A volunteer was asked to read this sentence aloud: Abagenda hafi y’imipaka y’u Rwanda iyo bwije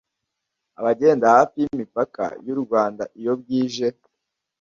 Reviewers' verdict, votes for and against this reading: accepted, 2, 0